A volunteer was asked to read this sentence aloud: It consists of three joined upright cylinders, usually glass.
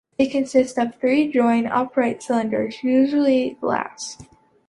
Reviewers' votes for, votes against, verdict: 2, 0, accepted